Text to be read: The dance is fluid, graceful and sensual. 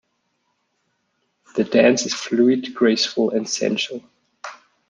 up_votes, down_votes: 1, 2